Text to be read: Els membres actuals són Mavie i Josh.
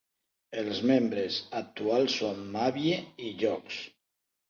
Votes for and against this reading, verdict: 2, 4, rejected